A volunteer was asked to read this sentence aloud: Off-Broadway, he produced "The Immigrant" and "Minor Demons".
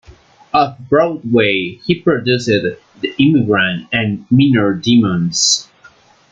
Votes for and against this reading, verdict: 2, 0, accepted